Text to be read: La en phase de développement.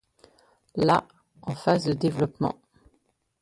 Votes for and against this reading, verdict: 2, 1, accepted